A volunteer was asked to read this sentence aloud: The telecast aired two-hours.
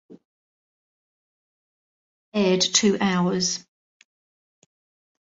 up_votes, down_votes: 0, 2